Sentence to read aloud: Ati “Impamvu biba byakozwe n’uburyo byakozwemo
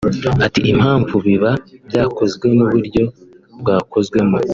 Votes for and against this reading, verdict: 1, 2, rejected